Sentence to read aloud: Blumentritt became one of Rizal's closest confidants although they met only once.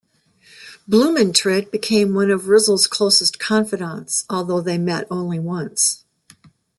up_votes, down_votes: 2, 0